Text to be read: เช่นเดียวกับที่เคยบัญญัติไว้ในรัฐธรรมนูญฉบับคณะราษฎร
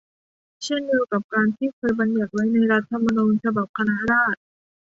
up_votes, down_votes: 0, 2